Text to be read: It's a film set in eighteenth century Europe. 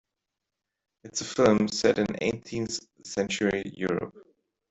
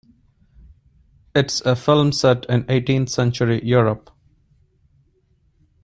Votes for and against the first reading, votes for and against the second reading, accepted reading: 1, 2, 2, 0, second